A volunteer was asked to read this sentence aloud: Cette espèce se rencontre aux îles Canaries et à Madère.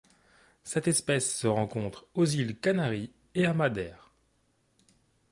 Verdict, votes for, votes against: accepted, 2, 0